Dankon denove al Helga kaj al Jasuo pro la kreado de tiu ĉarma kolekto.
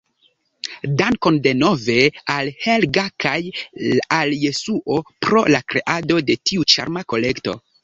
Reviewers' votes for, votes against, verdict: 1, 2, rejected